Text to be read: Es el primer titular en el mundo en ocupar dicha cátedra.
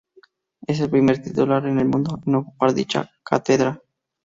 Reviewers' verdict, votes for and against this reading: accepted, 2, 0